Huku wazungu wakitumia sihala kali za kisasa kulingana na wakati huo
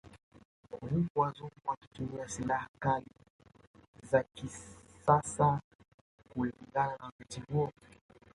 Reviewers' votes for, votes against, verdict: 0, 2, rejected